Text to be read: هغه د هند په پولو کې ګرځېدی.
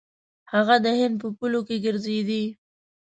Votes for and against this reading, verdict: 0, 2, rejected